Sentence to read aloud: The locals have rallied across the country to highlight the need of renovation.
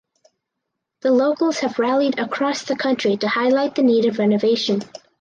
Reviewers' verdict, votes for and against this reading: accepted, 4, 0